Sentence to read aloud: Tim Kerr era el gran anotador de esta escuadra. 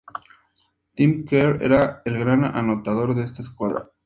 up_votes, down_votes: 2, 0